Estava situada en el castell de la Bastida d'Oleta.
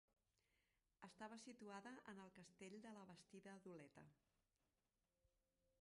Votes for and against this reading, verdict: 1, 2, rejected